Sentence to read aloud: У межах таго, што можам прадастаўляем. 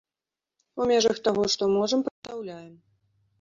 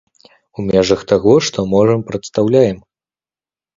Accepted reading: second